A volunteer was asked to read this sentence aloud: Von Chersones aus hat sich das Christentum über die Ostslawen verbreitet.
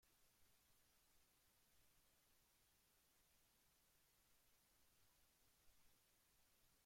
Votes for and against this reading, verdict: 0, 2, rejected